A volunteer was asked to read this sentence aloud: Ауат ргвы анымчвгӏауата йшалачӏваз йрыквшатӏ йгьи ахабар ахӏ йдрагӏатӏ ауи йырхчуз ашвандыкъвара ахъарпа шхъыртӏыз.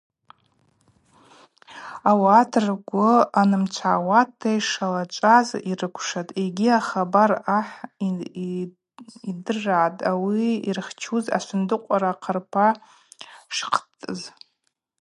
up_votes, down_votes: 2, 4